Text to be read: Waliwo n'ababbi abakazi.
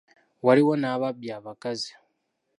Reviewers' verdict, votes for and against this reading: accepted, 2, 0